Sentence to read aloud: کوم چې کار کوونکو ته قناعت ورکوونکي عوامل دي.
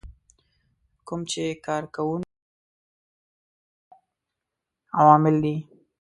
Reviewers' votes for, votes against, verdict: 0, 2, rejected